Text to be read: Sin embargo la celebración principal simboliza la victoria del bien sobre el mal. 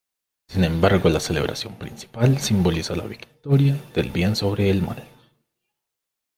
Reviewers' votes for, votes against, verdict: 2, 1, accepted